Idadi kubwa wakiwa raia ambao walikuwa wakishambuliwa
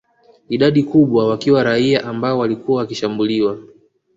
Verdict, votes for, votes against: accepted, 2, 0